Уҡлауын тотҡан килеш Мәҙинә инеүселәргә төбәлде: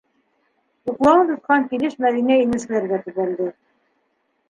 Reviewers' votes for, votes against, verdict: 1, 4, rejected